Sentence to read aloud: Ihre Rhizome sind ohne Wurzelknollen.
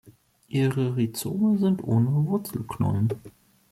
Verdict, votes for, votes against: accepted, 2, 0